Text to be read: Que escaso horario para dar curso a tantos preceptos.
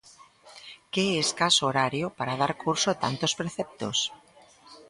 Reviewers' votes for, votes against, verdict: 2, 0, accepted